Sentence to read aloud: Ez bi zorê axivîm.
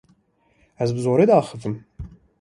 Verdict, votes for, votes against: rejected, 1, 2